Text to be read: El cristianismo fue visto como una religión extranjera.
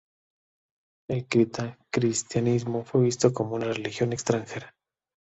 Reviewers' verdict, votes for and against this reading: rejected, 0, 2